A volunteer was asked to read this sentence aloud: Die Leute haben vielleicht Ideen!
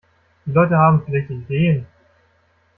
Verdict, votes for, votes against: rejected, 1, 2